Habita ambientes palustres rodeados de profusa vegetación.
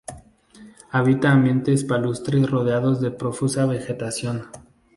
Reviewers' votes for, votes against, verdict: 2, 0, accepted